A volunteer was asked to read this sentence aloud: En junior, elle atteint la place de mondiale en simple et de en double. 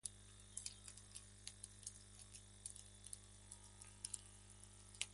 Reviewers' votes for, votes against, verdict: 1, 2, rejected